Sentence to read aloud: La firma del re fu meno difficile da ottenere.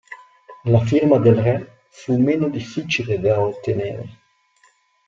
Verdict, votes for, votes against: accepted, 2, 0